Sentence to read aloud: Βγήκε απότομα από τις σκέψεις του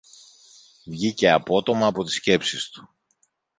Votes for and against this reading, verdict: 2, 0, accepted